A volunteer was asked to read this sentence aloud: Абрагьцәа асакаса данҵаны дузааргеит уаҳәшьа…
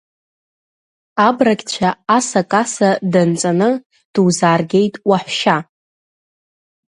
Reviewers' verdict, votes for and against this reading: rejected, 0, 2